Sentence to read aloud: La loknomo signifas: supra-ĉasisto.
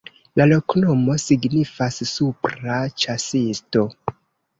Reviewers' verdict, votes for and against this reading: accepted, 2, 0